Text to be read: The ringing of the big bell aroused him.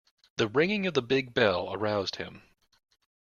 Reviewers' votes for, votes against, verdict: 2, 1, accepted